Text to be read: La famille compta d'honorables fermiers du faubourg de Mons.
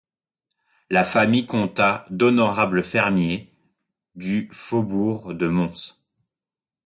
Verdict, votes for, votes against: rejected, 0, 2